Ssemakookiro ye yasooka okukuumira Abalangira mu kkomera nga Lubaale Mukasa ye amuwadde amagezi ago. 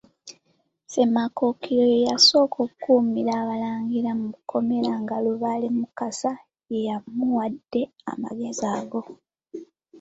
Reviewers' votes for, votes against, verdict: 2, 1, accepted